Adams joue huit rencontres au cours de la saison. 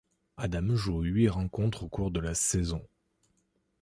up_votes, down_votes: 1, 2